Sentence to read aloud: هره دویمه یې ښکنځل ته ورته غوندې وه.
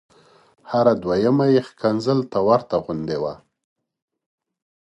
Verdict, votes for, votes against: accepted, 2, 1